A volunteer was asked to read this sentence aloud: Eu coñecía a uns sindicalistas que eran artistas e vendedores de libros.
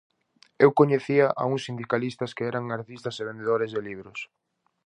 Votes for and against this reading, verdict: 4, 0, accepted